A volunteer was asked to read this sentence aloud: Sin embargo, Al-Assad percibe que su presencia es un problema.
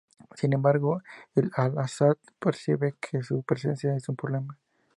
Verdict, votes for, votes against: accepted, 4, 0